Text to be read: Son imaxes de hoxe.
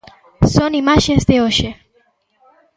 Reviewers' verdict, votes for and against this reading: rejected, 1, 2